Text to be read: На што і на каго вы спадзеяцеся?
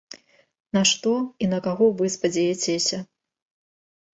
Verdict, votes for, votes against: accepted, 2, 0